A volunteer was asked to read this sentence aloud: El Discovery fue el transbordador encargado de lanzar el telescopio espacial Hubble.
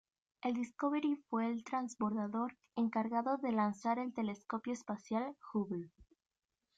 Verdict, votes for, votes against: accepted, 2, 0